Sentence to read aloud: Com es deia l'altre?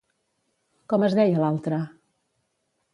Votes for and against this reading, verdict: 2, 0, accepted